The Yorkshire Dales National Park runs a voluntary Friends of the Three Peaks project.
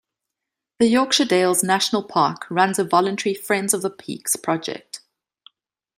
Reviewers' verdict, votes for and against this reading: rejected, 1, 2